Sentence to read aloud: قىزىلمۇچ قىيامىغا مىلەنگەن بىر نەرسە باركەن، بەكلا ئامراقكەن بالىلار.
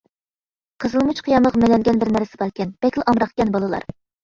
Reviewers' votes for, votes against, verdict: 0, 2, rejected